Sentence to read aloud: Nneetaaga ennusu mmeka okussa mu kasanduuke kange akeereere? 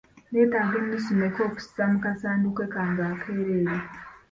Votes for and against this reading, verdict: 2, 1, accepted